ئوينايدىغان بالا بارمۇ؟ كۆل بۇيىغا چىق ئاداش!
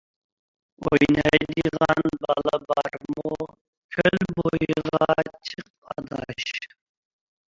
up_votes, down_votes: 0, 2